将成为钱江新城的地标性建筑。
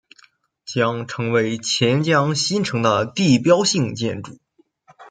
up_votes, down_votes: 2, 0